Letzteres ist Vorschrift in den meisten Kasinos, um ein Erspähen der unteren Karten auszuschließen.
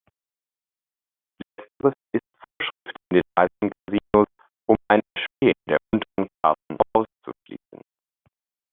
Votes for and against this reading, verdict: 0, 2, rejected